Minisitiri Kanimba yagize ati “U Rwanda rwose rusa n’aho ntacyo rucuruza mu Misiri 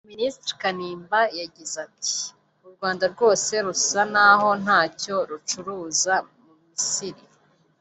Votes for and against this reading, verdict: 1, 2, rejected